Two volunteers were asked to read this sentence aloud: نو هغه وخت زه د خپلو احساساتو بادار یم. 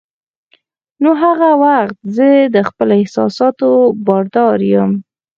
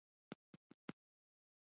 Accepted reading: first